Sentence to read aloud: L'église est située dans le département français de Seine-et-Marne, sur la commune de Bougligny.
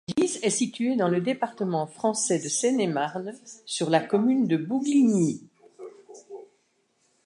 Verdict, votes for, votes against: accepted, 2, 0